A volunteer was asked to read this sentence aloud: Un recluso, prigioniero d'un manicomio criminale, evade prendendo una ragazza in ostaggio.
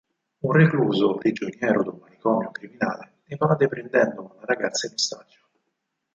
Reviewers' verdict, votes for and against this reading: rejected, 2, 4